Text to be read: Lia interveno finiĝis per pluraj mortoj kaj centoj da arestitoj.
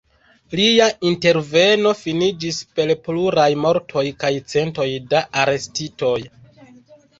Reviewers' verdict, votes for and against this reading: rejected, 1, 2